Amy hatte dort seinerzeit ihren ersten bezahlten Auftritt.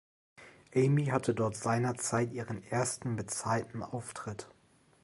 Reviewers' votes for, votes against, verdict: 2, 0, accepted